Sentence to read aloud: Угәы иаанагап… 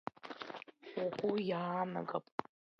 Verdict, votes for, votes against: rejected, 1, 2